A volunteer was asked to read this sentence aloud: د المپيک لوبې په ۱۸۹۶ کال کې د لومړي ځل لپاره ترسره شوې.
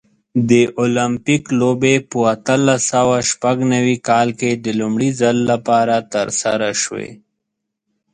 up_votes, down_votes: 0, 2